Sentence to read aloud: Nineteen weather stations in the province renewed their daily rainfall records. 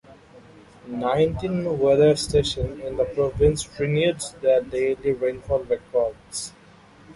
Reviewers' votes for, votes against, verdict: 0, 2, rejected